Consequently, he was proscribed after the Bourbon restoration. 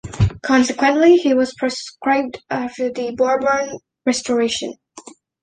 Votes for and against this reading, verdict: 1, 2, rejected